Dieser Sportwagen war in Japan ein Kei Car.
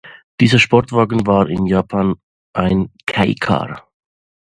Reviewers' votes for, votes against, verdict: 2, 0, accepted